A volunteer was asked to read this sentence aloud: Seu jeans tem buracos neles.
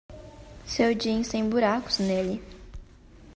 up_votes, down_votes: 0, 2